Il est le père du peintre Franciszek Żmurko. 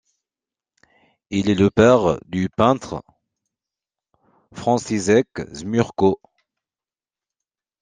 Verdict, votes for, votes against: accepted, 2, 0